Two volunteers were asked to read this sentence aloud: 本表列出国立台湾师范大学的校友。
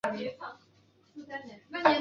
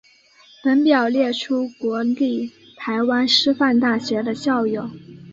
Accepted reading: second